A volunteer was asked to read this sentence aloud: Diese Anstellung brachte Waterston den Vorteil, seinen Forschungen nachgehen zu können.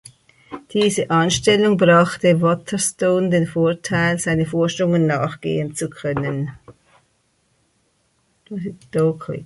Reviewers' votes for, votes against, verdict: 2, 4, rejected